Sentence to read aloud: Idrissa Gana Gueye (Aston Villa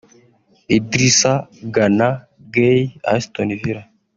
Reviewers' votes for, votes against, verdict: 2, 1, accepted